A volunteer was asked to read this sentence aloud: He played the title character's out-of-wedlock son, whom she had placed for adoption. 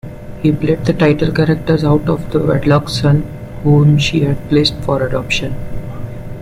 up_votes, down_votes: 1, 2